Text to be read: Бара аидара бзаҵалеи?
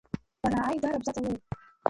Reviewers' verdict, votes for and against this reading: rejected, 0, 2